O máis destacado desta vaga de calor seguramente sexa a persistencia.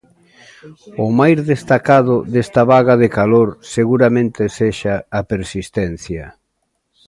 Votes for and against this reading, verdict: 2, 0, accepted